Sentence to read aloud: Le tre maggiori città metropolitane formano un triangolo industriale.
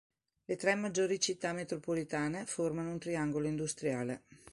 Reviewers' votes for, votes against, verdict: 2, 0, accepted